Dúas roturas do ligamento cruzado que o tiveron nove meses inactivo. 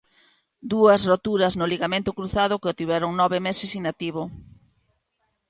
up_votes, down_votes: 0, 2